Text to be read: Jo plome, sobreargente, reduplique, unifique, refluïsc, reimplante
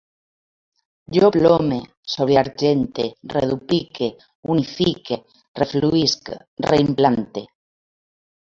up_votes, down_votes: 2, 0